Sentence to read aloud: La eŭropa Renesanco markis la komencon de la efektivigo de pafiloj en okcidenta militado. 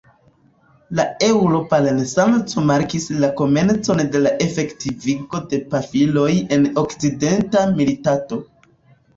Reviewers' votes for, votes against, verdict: 0, 2, rejected